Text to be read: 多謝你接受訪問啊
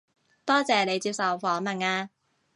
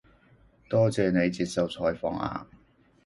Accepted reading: first